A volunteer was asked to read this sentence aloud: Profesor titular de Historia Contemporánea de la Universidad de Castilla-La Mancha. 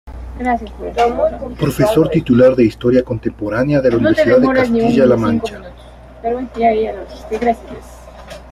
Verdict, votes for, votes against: rejected, 0, 2